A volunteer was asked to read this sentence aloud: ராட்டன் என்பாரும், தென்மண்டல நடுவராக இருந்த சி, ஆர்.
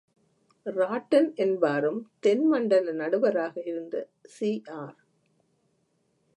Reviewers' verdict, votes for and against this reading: rejected, 1, 2